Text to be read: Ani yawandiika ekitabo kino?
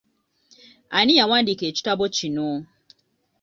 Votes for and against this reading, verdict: 0, 2, rejected